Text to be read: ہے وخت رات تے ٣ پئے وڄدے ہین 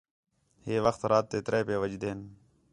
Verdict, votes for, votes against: rejected, 0, 2